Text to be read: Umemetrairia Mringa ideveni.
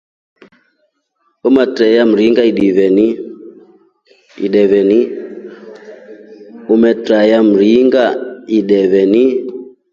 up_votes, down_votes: 1, 3